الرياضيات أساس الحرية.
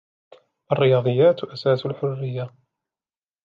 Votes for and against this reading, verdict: 2, 0, accepted